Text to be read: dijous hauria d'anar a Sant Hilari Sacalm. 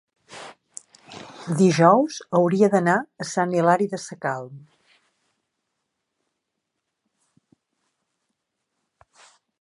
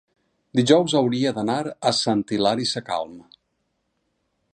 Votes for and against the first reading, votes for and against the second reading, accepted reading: 0, 3, 6, 0, second